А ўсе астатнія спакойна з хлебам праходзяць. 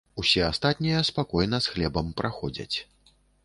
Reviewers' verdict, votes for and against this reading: rejected, 1, 2